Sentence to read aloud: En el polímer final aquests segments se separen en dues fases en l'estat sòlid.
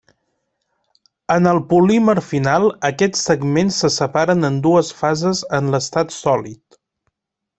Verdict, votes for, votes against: accepted, 3, 0